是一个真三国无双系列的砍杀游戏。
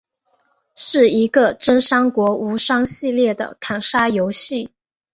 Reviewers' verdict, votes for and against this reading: accepted, 2, 0